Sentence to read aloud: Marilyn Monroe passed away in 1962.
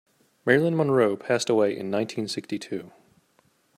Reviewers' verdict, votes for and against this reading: rejected, 0, 2